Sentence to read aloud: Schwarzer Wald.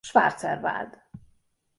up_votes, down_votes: 2, 0